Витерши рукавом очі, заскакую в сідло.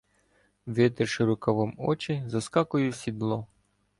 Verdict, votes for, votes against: accepted, 2, 0